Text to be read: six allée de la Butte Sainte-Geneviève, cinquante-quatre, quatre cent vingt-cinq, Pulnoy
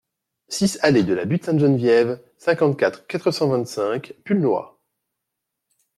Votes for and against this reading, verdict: 2, 0, accepted